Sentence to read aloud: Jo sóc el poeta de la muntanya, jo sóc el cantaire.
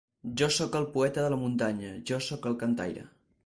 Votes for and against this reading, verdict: 4, 0, accepted